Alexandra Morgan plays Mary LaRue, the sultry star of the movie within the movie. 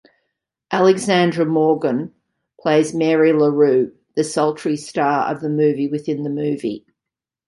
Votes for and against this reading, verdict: 2, 0, accepted